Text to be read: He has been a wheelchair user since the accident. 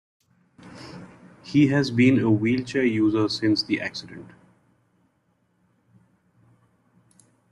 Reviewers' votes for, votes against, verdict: 2, 0, accepted